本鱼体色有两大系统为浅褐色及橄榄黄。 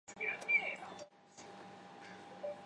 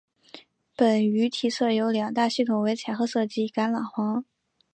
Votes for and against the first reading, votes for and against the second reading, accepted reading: 0, 2, 2, 0, second